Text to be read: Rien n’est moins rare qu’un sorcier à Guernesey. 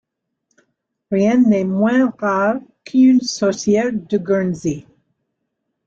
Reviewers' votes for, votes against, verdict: 0, 2, rejected